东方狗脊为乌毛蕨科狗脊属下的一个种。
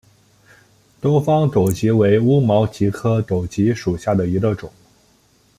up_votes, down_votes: 2, 0